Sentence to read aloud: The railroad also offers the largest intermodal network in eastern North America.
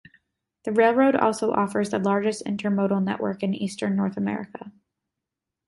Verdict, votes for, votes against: accepted, 2, 0